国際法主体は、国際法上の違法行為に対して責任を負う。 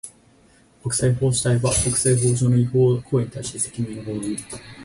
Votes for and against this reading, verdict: 4, 0, accepted